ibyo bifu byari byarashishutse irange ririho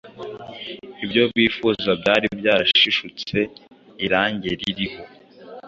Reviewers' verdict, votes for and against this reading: rejected, 0, 2